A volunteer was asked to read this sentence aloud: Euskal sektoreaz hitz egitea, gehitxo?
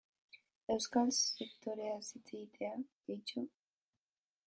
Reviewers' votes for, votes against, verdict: 1, 2, rejected